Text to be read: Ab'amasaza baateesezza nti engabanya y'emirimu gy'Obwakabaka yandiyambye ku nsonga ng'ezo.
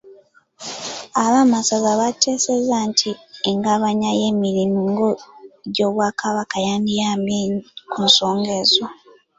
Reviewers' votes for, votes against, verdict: 1, 2, rejected